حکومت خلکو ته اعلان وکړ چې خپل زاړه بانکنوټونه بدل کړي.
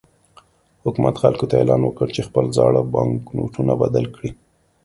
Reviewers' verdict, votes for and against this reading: accepted, 2, 0